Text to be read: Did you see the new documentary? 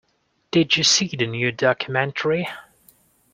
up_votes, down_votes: 3, 0